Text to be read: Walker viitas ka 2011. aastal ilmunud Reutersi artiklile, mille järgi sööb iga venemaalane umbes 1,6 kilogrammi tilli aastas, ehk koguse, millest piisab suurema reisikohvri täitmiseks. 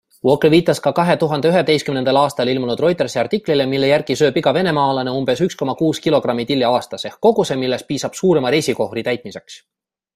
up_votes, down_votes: 0, 2